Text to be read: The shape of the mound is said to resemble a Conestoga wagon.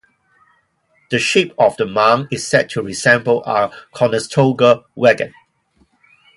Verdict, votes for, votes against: accepted, 2, 0